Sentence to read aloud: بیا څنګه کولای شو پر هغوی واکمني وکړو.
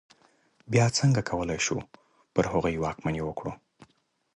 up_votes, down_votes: 2, 0